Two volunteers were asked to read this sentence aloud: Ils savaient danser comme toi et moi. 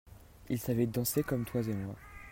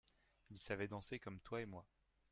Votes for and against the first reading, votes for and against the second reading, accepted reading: 0, 2, 2, 1, second